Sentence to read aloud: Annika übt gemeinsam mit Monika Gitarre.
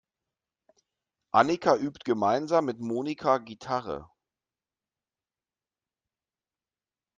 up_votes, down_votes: 2, 0